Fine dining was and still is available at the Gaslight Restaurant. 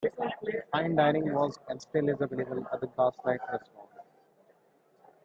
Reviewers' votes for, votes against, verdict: 2, 0, accepted